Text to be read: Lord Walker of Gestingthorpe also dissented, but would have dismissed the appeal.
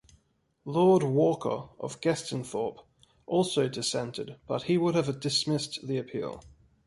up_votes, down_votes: 1, 2